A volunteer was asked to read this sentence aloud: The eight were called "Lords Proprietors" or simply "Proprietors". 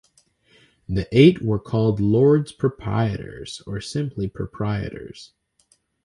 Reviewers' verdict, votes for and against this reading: accepted, 2, 0